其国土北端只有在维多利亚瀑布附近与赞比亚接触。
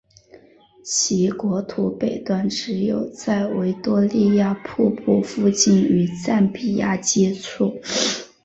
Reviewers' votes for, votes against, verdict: 4, 0, accepted